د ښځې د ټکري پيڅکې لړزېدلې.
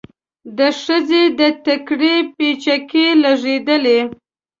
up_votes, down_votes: 1, 2